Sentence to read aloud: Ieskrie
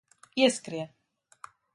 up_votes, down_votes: 2, 0